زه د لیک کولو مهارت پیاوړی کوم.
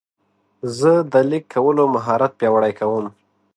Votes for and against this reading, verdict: 0, 2, rejected